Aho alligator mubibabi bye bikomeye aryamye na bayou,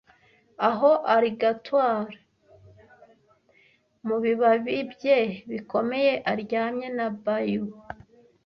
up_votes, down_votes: 0, 2